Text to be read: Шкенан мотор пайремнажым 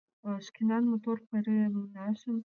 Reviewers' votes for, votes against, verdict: 1, 2, rejected